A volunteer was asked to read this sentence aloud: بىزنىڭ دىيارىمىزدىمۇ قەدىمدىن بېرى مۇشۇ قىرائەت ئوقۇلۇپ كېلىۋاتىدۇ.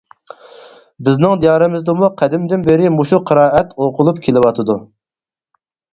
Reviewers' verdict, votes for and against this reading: accepted, 4, 0